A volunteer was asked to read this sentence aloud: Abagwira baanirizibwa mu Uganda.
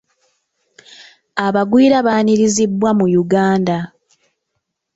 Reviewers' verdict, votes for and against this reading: accepted, 2, 0